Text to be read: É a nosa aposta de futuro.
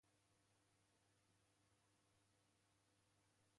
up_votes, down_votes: 0, 2